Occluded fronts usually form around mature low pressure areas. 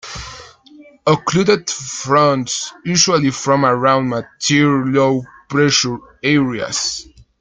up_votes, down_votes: 1, 3